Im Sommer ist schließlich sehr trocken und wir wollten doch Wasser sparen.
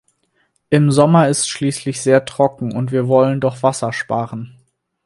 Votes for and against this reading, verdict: 2, 4, rejected